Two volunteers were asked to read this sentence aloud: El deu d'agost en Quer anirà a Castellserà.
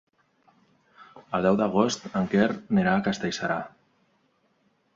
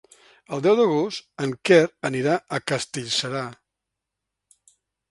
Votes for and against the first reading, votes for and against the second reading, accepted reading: 1, 2, 2, 0, second